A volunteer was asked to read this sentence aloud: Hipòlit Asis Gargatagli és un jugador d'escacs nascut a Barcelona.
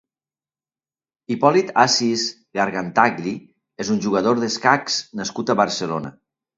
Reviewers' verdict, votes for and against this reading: rejected, 1, 2